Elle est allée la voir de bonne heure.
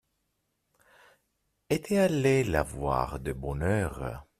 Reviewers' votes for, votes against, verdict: 0, 2, rejected